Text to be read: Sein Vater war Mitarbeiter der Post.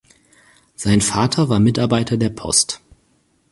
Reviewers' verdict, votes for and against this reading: accepted, 4, 0